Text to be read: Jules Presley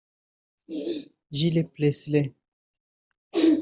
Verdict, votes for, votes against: rejected, 0, 3